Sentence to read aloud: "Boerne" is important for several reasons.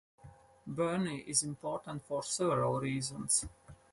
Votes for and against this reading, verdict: 2, 2, rejected